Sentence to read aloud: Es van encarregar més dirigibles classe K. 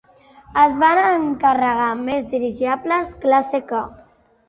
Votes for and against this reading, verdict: 1, 3, rejected